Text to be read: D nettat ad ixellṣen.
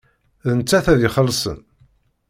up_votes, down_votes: 2, 0